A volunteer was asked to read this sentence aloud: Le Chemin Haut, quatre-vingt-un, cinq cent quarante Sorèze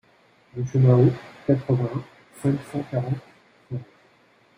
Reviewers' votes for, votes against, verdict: 0, 2, rejected